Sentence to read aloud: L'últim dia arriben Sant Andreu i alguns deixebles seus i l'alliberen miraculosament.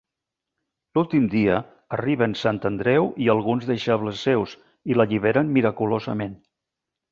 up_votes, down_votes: 2, 0